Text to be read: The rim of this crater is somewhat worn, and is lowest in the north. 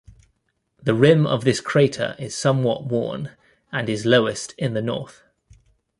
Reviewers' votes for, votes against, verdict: 2, 1, accepted